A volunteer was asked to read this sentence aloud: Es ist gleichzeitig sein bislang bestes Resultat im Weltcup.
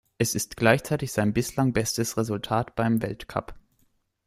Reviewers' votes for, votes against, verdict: 0, 2, rejected